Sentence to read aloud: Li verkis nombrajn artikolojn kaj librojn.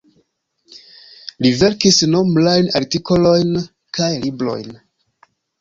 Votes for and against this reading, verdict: 2, 1, accepted